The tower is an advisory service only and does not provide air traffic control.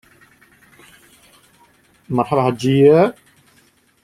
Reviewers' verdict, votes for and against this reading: rejected, 0, 2